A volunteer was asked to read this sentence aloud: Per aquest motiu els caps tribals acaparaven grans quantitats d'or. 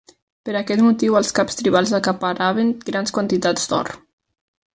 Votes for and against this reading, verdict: 3, 0, accepted